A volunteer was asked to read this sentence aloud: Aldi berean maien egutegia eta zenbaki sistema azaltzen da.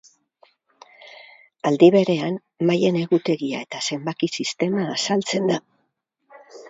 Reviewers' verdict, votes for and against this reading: accepted, 4, 0